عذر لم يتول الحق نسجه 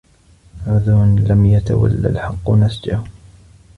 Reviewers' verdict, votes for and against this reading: accepted, 2, 0